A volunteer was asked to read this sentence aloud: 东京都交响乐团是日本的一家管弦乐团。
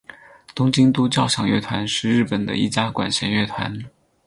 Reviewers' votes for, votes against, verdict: 4, 0, accepted